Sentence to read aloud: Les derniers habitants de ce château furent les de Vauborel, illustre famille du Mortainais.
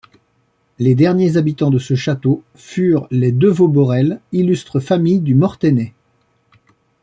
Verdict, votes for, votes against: accepted, 2, 0